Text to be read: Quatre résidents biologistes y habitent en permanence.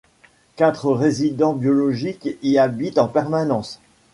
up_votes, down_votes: 1, 2